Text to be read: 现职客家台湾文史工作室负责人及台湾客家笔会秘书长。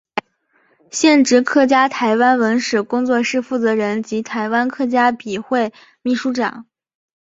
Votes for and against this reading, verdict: 2, 1, accepted